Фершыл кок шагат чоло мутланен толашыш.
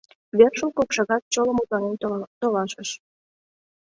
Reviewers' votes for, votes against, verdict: 0, 2, rejected